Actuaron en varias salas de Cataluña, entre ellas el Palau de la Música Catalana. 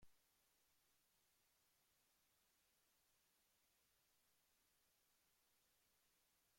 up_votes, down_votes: 0, 2